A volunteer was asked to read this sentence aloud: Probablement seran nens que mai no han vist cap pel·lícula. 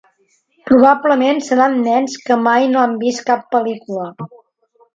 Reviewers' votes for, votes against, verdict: 3, 0, accepted